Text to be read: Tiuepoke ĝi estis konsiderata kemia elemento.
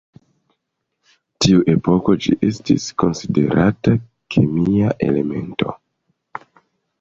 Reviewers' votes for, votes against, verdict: 2, 3, rejected